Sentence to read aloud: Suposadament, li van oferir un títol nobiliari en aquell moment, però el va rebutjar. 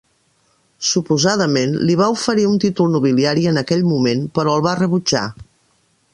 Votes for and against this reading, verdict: 0, 2, rejected